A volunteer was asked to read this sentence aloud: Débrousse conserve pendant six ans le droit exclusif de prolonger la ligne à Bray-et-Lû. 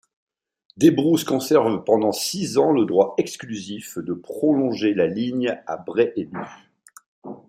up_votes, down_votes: 2, 0